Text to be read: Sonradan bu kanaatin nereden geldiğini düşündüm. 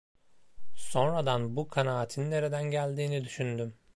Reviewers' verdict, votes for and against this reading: accepted, 2, 0